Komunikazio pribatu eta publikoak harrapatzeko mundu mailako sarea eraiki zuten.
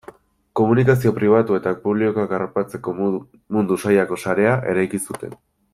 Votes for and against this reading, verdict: 0, 2, rejected